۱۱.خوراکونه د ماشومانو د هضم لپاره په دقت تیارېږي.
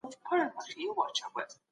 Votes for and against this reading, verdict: 0, 2, rejected